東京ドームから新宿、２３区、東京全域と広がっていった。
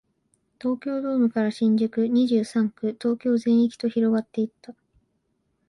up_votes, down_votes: 0, 2